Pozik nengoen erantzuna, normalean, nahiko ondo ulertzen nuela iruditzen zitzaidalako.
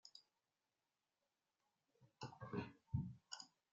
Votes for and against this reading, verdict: 0, 2, rejected